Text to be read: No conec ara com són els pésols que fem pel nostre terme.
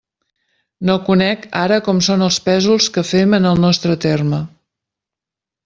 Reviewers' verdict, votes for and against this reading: rejected, 0, 2